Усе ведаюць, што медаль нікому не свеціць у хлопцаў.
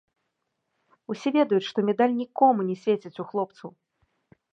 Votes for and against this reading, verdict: 2, 0, accepted